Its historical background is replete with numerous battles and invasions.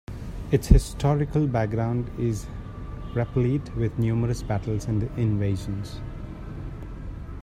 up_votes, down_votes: 1, 2